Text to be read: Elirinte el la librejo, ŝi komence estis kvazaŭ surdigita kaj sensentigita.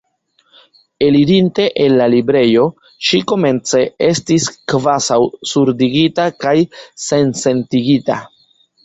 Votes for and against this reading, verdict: 1, 2, rejected